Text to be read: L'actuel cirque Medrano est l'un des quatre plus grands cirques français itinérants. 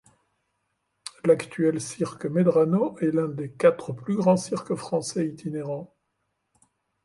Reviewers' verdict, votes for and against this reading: accepted, 2, 0